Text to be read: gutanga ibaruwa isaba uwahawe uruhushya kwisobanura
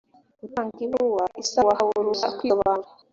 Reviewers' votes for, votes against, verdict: 0, 2, rejected